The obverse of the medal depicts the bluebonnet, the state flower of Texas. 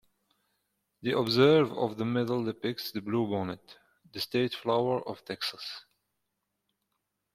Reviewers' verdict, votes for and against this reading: rejected, 1, 2